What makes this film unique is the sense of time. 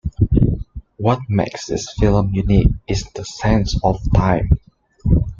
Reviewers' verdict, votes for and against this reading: accepted, 2, 1